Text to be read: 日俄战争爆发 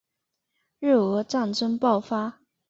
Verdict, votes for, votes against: accepted, 2, 0